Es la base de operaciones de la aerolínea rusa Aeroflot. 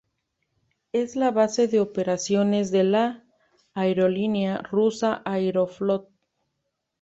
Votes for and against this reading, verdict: 2, 0, accepted